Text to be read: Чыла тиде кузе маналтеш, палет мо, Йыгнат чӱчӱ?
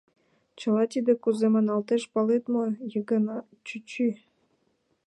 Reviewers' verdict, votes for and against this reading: accepted, 2, 0